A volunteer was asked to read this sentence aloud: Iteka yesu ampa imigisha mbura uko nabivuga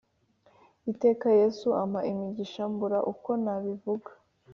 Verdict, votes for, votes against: accepted, 3, 0